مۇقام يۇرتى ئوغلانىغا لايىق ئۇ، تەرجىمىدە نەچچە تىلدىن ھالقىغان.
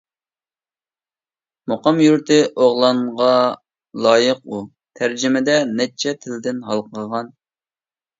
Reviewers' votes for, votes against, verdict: 1, 2, rejected